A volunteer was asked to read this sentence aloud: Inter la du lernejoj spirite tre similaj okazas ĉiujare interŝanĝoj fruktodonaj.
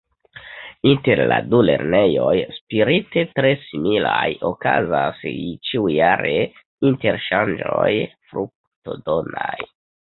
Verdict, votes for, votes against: rejected, 1, 2